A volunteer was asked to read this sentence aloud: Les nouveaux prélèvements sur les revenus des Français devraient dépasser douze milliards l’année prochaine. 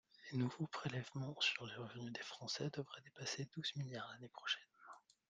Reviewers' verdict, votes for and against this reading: rejected, 5, 6